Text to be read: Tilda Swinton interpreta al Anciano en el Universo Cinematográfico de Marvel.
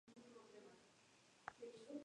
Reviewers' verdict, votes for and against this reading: rejected, 0, 2